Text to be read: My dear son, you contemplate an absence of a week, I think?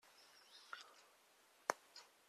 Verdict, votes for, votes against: rejected, 0, 2